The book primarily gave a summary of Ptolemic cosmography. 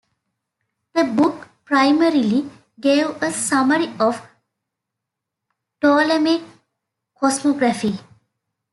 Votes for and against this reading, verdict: 2, 0, accepted